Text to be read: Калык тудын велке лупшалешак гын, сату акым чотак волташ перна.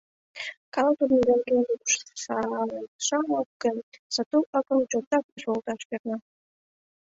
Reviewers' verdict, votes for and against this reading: rejected, 0, 2